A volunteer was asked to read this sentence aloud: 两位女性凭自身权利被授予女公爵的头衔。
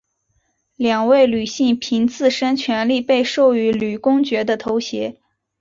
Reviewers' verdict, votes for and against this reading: rejected, 1, 3